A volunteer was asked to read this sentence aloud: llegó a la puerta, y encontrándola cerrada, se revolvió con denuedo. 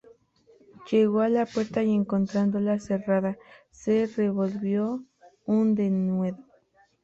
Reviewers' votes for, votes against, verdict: 0, 2, rejected